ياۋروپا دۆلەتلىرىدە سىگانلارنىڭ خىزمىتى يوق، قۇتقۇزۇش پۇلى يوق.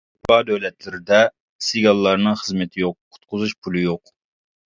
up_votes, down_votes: 1, 2